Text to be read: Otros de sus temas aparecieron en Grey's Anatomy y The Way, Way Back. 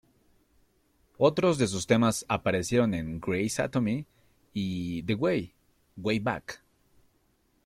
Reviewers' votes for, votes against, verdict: 2, 0, accepted